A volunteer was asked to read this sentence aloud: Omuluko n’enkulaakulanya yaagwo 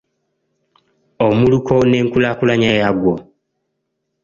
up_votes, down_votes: 2, 0